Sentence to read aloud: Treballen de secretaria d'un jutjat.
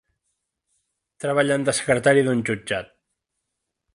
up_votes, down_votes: 3, 1